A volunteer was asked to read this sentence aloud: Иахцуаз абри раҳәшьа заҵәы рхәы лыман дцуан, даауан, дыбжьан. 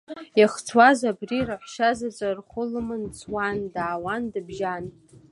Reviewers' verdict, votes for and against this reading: accepted, 2, 1